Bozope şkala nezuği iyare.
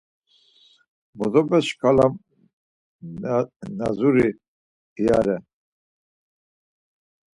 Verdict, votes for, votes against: rejected, 0, 4